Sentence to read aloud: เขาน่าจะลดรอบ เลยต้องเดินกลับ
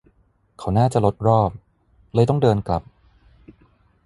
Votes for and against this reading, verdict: 0, 3, rejected